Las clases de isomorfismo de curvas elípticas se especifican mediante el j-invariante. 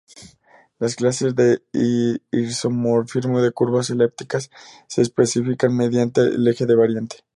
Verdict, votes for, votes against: rejected, 0, 2